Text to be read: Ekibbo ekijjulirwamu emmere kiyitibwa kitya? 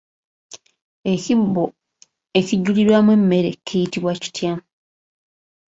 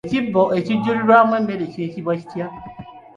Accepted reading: second